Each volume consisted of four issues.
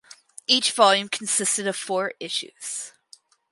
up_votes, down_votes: 4, 0